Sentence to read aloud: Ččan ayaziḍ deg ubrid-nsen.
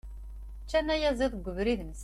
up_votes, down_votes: 2, 0